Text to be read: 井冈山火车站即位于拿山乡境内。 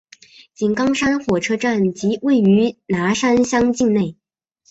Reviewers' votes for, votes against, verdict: 0, 2, rejected